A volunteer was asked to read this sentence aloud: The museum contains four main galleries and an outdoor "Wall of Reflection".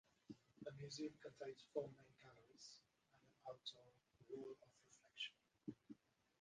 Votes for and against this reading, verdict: 0, 4, rejected